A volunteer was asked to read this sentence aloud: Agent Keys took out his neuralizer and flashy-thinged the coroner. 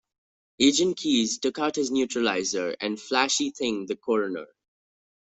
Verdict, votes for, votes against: accepted, 2, 1